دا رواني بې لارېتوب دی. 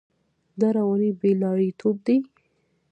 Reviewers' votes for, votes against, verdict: 1, 2, rejected